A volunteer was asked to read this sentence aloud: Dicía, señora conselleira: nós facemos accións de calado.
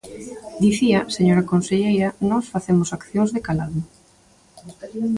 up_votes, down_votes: 0, 2